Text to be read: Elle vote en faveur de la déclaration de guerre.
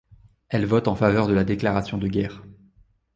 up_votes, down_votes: 2, 0